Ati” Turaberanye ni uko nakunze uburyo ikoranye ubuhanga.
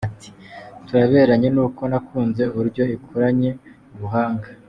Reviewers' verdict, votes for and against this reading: accepted, 2, 0